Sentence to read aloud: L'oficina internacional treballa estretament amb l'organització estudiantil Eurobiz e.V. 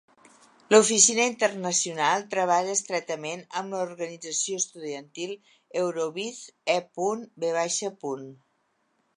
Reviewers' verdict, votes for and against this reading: rejected, 1, 2